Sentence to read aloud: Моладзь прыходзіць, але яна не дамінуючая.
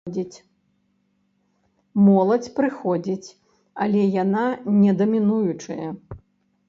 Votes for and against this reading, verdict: 0, 2, rejected